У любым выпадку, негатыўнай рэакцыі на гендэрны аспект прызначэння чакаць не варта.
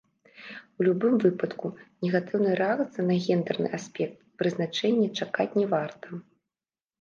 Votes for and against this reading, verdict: 1, 2, rejected